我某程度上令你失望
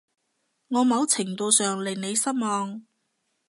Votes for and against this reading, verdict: 2, 0, accepted